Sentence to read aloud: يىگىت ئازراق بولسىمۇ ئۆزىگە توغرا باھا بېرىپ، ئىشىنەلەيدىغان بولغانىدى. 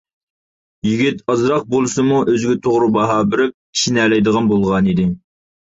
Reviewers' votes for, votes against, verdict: 2, 0, accepted